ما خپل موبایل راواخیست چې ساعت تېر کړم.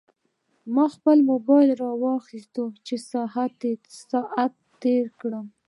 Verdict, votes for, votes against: rejected, 0, 3